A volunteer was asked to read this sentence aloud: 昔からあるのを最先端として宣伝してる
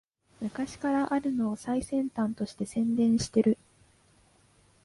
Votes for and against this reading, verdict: 2, 0, accepted